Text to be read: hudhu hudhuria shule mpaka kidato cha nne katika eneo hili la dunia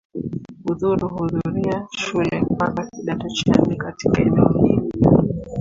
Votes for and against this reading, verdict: 0, 2, rejected